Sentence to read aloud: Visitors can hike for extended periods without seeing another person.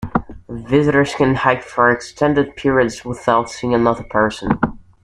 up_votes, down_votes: 2, 0